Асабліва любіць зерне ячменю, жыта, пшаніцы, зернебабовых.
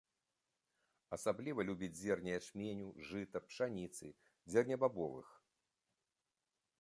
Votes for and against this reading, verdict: 2, 0, accepted